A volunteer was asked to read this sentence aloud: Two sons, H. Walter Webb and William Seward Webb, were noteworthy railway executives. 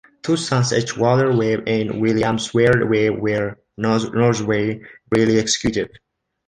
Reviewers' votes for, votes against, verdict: 0, 2, rejected